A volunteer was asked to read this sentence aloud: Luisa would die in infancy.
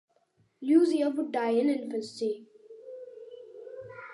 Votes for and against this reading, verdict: 2, 0, accepted